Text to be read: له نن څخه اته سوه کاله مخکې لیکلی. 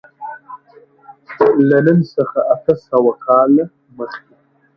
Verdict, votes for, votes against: rejected, 0, 2